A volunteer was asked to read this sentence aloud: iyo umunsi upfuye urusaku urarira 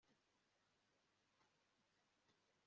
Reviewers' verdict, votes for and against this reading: accepted, 2, 0